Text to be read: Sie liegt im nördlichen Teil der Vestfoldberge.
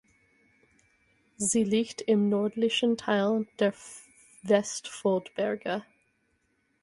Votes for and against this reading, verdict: 0, 4, rejected